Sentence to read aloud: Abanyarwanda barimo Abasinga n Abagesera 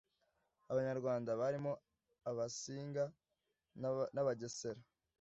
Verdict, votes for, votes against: rejected, 0, 2